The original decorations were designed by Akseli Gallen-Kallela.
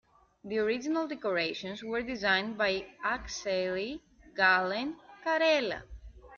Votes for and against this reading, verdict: 2, 0, accepted